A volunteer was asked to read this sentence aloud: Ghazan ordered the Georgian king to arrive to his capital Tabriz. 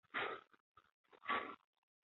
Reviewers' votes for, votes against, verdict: 0, 2, rejected